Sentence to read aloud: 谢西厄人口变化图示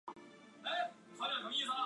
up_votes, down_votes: 1, 2